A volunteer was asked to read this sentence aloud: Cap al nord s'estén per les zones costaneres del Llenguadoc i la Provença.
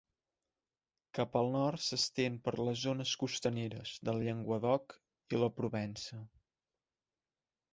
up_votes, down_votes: 2, 0